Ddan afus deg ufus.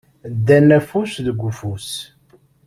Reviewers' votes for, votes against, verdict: 2, 0, accepted